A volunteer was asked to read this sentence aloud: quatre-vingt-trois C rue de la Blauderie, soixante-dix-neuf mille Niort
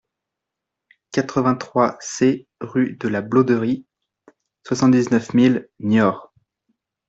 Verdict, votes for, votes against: accepted, 2, 0